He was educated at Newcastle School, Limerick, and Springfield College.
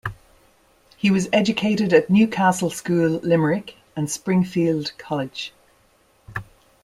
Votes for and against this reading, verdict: 2, 0, accepted